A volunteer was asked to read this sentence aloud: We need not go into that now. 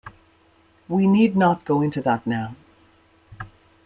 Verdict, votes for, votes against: accepted, 2, 0